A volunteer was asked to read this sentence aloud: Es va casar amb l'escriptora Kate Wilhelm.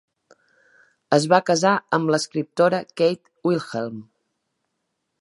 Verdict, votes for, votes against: accepted, 3, 0